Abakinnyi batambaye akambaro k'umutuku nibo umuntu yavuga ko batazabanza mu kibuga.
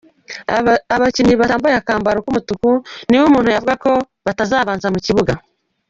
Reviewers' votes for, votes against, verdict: 0, 2, rejected